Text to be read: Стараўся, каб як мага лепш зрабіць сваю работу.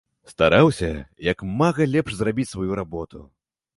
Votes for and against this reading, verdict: 1, 2, rejected